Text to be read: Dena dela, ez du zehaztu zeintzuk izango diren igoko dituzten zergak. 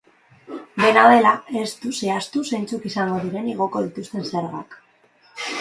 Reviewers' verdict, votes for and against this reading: rejected, 1, 2